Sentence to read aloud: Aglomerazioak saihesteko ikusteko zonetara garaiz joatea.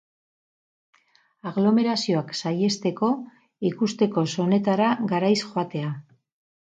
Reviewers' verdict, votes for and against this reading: rejected, 0, 2